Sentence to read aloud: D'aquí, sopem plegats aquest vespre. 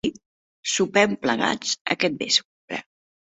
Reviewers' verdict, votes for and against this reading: rejected, 0, 2